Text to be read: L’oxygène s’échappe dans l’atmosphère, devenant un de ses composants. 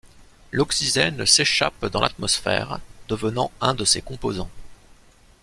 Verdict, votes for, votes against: rejected, 0, 2